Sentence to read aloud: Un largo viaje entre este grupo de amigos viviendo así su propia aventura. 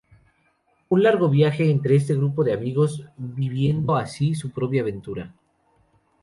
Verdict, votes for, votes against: accepted, 2, 0